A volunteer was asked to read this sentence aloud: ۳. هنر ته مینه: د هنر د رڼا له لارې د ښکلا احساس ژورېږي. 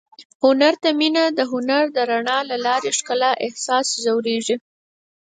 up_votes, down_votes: 0, 2